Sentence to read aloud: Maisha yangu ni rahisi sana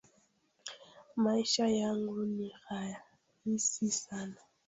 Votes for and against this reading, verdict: 3, 0, accepted